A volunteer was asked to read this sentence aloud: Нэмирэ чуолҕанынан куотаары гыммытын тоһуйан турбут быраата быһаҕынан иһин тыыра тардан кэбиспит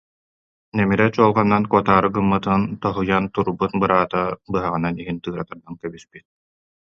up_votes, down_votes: 1, 2